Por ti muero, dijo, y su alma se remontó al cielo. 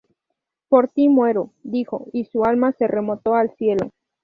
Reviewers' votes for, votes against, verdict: 2, 0, accepted